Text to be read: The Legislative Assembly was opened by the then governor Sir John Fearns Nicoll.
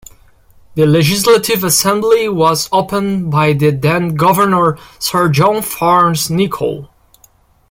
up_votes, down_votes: 2, 0